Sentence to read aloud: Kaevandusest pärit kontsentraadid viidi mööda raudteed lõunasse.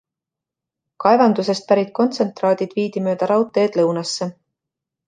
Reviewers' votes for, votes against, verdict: 2, 0, accepted